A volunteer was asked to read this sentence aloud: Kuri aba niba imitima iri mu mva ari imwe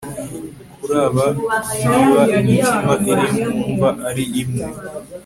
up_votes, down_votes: 0, 2